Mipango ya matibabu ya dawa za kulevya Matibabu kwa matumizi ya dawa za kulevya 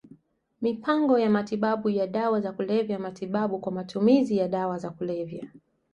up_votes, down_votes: 2, 0